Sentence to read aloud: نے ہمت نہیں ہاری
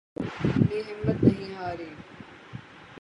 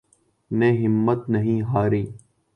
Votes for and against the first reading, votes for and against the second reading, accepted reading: 0, 6, 2, 0, second